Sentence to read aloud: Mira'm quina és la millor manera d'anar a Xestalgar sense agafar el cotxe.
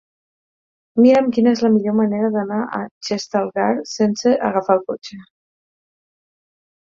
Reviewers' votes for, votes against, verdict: 10, 0, accepted